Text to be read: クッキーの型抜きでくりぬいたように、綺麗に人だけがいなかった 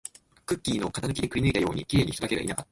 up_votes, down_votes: 2, 0